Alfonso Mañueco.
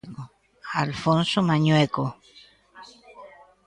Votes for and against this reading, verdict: 1, 2, rejected